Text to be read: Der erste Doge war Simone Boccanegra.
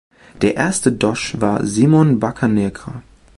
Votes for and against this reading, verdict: 1, 2, rejected